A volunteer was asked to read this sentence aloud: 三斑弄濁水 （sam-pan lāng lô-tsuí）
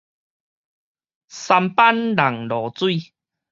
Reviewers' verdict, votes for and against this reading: rejected, 2, 2